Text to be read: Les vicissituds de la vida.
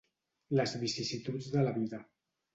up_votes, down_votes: 2, 0